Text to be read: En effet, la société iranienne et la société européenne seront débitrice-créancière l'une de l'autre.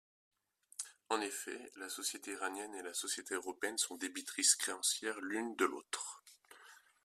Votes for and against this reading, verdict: 1, 2, rejected